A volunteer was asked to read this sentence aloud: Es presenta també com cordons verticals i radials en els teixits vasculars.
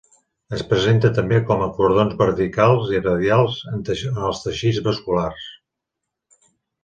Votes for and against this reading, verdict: 2, 1, accepted